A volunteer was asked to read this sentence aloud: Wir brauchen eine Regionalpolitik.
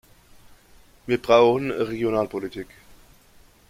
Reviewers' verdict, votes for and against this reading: rejected, 0, 2